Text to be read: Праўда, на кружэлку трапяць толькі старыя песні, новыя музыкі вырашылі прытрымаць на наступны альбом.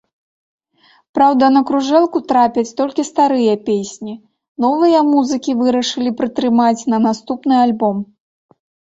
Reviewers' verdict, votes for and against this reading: rejected, 0, 2